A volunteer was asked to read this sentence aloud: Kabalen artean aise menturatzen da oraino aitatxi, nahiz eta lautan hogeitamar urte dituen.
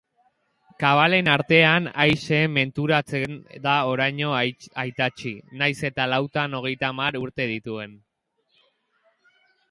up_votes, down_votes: 1, 2